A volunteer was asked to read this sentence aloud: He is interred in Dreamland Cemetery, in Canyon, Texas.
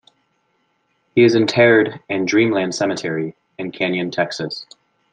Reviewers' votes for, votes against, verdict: 2, 1, accepted